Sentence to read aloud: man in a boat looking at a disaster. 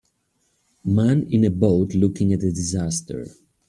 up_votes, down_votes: 2, 1